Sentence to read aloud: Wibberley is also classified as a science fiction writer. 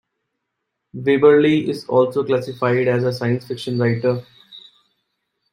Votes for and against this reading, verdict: 0, 2, rejected